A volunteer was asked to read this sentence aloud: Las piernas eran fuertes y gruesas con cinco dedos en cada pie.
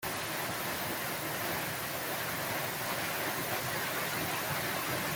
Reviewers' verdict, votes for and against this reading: rejected, 0, 2